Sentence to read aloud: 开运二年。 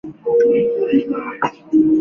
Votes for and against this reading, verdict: 0, 2, rejected